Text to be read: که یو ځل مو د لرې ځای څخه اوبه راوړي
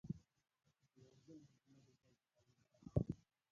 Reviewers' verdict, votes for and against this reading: rejected, 1, 2